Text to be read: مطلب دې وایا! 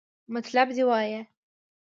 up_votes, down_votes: 2, 0